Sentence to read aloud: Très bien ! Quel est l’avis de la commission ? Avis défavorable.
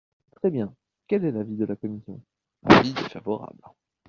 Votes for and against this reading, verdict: 0, 2, rejected